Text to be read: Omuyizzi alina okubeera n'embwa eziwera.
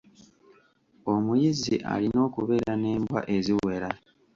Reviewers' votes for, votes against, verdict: 1, 2, rejected